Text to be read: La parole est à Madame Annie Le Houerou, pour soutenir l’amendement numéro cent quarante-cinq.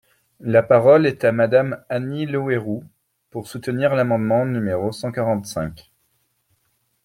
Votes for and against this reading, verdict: 2, 0, accepted